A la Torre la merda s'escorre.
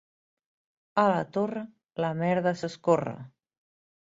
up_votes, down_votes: 3, 0